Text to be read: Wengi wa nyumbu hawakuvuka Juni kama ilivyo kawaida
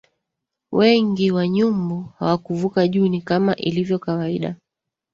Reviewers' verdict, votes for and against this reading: rejected, 0, 2